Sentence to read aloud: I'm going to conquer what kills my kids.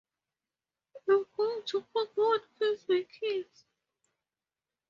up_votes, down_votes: 4, 2